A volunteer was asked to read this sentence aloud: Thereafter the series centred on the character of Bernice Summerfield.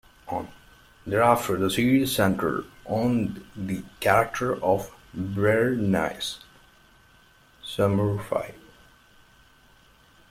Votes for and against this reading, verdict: 1, 2, rejected